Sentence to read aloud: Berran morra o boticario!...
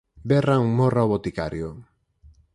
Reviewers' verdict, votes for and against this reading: rejected, 2, 4